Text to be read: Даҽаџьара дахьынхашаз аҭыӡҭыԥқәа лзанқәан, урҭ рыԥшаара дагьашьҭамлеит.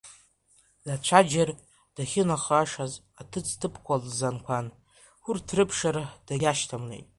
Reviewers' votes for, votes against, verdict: 0, 2, rejected